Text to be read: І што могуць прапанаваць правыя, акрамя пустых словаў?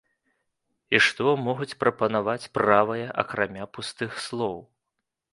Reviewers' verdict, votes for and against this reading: rejected, 0, 2